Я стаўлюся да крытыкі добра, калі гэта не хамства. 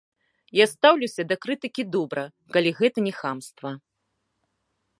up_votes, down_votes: 1, 2